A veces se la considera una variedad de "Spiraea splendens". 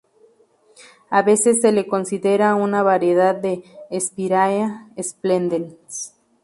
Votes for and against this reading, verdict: 0, 2, rejected